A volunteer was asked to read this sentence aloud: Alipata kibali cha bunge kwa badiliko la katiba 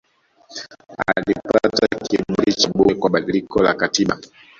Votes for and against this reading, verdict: 0, 2, rejected